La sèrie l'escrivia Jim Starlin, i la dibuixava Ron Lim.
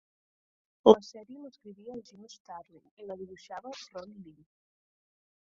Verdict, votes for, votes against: rejected, 0, 2